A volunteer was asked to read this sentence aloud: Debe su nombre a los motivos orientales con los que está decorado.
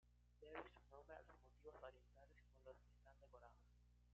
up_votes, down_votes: 1, 2